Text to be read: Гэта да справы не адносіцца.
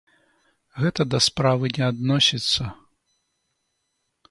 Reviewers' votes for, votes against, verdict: 2, 0, accepted